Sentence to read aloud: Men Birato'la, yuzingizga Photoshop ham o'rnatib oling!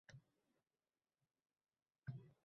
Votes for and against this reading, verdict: 0, 2, rejected